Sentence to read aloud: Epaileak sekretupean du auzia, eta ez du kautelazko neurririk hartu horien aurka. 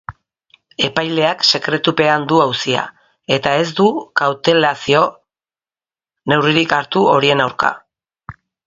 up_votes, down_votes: 0, 2